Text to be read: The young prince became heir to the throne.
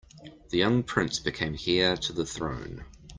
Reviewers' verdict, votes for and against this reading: rejected, 1, 2